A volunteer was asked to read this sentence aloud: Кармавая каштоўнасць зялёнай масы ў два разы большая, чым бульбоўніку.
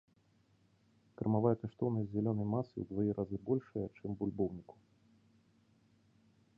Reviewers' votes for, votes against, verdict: 0, 2, rejected